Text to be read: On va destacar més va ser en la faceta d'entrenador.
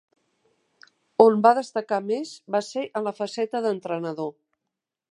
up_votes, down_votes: 2, 0